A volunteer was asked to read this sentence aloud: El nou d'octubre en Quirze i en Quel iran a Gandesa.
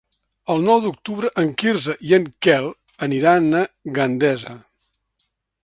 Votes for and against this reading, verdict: 0, 2, rejected